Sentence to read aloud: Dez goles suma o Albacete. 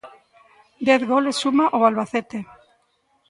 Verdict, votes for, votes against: rejected, 0, 2